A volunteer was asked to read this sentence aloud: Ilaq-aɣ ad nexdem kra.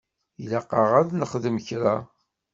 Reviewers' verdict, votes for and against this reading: accepted, 2, 0